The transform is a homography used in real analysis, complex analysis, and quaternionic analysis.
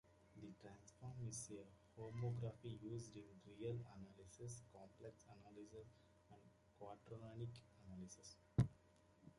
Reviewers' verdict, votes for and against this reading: rejected, 0, 2